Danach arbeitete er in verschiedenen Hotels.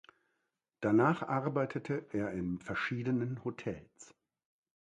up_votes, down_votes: 2, 0